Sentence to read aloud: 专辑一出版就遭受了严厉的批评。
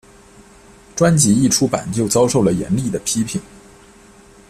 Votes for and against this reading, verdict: 2, 0, accepted